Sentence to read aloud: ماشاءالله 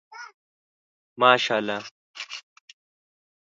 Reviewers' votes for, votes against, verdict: 3, 0, accepted